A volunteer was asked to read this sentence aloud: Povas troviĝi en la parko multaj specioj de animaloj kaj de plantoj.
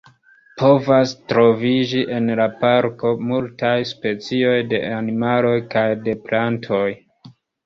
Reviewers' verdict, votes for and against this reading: rejected, 1, 2